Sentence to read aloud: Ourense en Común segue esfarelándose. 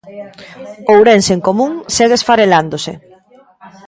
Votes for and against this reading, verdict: 1, 2, rejected